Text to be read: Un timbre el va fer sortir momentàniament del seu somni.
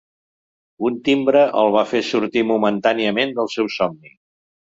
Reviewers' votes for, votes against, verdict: 3, 0, accepted